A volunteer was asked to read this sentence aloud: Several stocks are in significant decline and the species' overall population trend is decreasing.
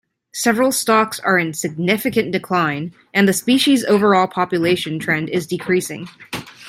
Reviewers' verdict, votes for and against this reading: accepted, 2, 0